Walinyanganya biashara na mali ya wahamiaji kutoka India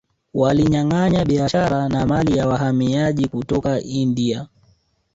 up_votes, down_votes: 1, 2